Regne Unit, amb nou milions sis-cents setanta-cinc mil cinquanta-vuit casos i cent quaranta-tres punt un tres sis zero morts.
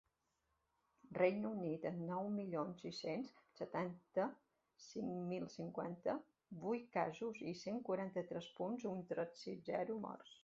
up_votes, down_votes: 2, 1